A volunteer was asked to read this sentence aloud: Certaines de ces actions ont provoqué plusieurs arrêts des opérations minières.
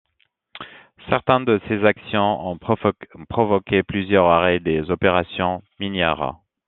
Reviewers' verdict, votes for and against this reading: rejected, 0, 2